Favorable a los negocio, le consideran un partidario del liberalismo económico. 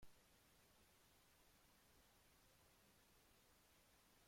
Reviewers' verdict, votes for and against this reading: rejected, 0, 2